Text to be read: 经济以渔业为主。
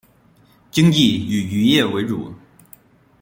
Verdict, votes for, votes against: rejected, 0, 2